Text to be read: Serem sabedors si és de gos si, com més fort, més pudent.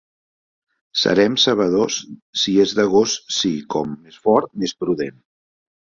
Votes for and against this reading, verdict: 1, 2, rejected